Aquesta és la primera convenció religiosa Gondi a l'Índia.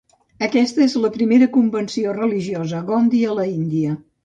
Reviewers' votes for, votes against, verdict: 2, 2, rejected